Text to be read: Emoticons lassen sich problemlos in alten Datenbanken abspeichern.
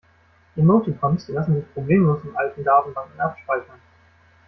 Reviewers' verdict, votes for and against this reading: accepted, 3, 1